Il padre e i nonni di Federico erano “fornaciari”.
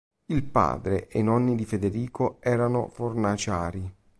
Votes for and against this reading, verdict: 2, 0, accepted